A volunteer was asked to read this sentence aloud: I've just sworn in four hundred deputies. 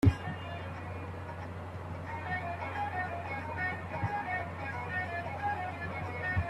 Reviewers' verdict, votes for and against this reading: rejected, 0, 3